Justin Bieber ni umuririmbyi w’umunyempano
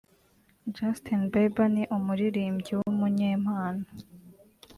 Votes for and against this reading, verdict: 2, 0, accepted